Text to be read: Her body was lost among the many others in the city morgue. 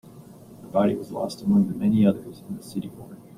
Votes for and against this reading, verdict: 2, 0, accepted